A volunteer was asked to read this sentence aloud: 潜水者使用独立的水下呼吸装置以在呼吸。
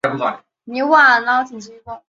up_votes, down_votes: 0, 6